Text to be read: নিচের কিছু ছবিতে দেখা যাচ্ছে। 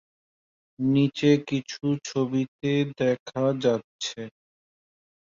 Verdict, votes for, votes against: rejected, 0, 2